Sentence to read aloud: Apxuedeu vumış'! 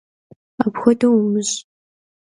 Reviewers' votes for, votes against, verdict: 2, 0, accepted